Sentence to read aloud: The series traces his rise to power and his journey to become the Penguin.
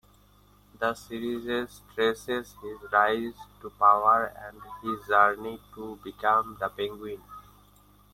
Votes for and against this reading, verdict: 0, 2, rejected